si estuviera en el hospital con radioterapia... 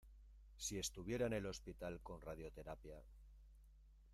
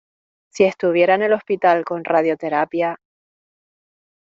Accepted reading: second